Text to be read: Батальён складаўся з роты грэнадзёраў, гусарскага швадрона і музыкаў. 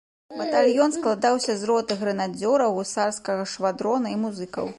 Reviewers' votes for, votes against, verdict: 3, 1, accepted